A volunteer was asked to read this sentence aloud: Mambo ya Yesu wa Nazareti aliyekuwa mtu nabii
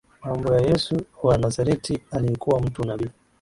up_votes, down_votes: 2, 1